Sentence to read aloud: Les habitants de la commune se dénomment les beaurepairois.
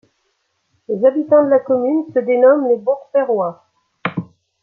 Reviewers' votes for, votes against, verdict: 2, 1, accepted